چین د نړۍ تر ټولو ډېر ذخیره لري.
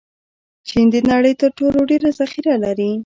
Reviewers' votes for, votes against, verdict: 2, 0, accepted